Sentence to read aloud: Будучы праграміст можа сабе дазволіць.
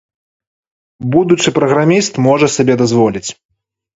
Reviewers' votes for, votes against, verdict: 2, 0, accepted